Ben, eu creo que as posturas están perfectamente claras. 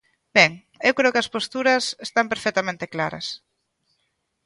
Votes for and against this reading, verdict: 2, 0, accepted